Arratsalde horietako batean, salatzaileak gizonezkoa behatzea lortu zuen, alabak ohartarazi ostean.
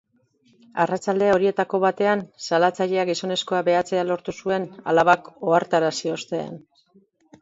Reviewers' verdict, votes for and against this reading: rejected, 2, 2